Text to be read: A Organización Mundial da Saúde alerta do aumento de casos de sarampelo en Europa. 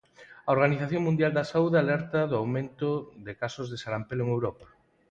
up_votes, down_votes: 6, 0